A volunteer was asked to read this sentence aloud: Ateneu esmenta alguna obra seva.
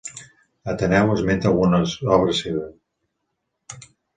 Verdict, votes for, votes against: rejected, 0, 4